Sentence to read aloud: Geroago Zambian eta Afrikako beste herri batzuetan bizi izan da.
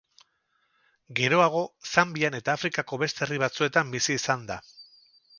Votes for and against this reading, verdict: 4, 0, accepted